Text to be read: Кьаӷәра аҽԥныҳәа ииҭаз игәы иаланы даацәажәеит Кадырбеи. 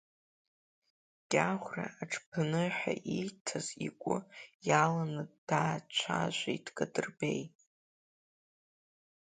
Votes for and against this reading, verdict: 2, 0, accepted